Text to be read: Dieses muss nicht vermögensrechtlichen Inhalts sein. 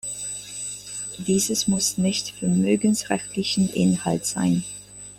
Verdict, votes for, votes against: accepted, 2, 0